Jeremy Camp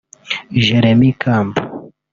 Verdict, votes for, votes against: rejected, 0, 2